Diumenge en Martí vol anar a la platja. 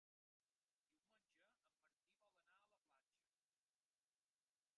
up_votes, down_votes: 0, 2